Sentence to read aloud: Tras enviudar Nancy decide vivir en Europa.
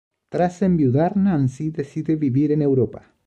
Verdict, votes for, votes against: accepted, 2, 0